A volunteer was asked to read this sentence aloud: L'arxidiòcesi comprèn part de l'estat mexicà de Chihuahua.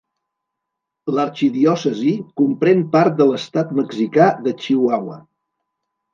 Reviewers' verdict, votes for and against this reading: accepted, 2, 0